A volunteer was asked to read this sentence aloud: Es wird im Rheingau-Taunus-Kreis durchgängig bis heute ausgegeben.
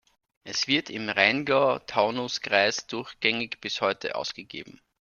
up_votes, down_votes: 2, 0